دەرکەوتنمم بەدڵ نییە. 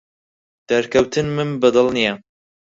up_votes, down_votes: 4, 2